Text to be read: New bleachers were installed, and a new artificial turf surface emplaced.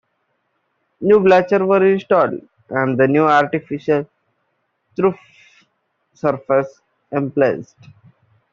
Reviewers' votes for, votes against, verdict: 1, 2, rejected